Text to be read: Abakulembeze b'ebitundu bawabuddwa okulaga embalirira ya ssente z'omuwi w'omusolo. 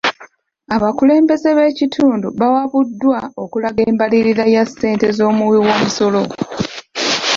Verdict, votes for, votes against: rejected, 0, 2